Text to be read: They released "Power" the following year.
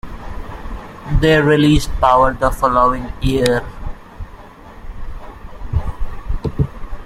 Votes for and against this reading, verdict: 2, 0, accepted